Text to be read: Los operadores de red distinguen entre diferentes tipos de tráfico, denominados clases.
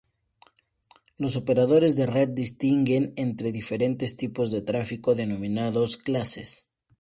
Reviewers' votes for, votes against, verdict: 2, 0, accepted